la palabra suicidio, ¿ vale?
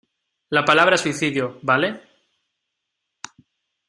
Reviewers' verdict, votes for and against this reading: accepted, 2, 0